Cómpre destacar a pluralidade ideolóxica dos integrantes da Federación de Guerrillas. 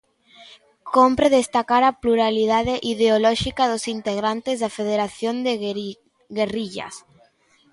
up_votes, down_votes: 0, 2